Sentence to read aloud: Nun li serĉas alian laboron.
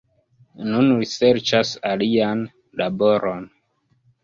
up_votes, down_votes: 0, 2